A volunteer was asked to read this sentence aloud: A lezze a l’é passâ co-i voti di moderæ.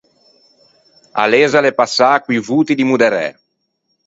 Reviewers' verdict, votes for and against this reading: accepted, 4, 0